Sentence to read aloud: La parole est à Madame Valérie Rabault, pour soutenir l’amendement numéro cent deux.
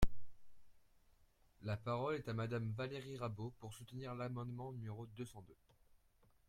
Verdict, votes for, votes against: rejected, 0, 2